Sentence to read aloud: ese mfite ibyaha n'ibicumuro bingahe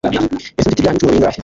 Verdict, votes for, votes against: rejected, 1, 3